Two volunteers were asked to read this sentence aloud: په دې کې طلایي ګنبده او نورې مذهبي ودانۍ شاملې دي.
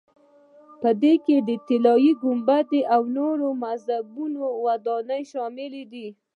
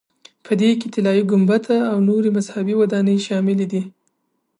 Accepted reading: second